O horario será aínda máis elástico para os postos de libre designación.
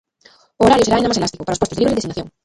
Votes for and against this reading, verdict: 0, 2, rejected